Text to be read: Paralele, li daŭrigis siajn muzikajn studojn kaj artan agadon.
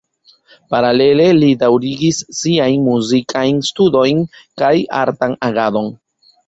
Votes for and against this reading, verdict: 1, 2, rejected